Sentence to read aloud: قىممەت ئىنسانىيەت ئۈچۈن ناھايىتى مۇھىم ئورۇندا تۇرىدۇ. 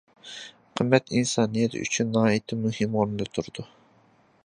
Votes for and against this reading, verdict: 2, 0, accepted